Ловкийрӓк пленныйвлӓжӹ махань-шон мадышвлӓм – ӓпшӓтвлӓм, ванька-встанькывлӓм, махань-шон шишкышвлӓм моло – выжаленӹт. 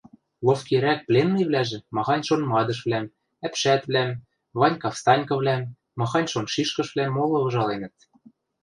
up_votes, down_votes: 0, 2